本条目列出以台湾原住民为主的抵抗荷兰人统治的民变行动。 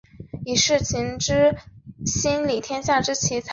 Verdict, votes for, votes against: rejected, 5, 6